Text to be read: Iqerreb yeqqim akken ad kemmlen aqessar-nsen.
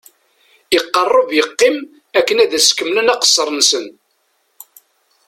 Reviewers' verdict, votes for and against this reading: rejected, 0, 2